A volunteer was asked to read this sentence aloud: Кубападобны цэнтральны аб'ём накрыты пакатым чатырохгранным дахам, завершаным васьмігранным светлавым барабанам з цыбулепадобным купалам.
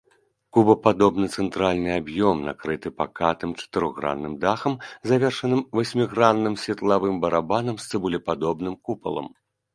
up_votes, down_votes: 2, 0